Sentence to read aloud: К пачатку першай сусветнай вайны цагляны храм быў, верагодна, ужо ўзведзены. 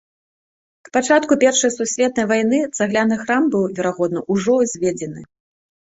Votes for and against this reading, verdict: 2, 0, accepted